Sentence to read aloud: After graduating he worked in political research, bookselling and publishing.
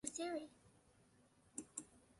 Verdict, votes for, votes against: rejected, 0, 2